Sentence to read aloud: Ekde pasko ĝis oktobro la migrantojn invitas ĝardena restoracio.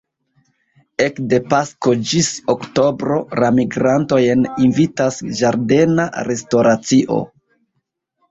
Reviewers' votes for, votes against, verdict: 0, 2, rejected